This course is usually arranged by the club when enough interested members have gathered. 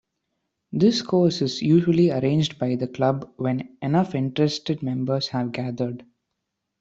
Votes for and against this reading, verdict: 2, 0, accepted